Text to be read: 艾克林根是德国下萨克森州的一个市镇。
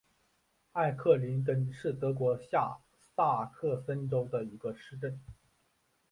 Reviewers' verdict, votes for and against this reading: accepted, 2, 0